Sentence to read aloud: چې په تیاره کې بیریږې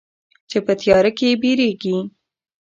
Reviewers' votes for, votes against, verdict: 2, 1, accepted